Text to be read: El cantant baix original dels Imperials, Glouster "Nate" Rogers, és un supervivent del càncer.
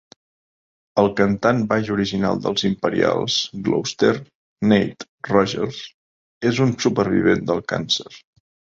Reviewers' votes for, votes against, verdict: 2, 0, accepted